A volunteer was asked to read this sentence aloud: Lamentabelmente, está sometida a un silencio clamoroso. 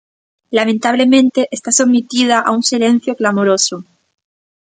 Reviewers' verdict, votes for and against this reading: rejected, 0, 2